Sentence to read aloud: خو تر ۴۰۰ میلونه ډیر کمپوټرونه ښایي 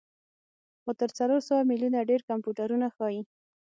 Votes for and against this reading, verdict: 0, 2, rejected